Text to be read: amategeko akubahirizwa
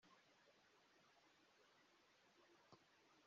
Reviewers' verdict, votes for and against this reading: rejected, 0, 2